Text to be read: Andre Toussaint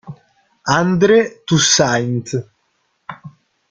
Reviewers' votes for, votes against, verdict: 0, 3, rejected